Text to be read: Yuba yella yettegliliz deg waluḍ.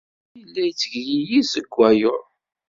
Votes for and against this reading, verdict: 1, 2, rejected